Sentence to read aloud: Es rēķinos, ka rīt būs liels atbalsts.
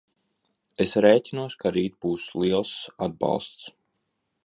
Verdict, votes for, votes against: accepted, 2, 0